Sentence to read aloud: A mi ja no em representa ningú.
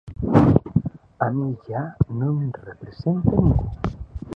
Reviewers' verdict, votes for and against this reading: rejected, 1, 3